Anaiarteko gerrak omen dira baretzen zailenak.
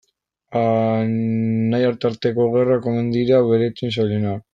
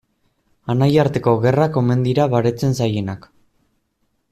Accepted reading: second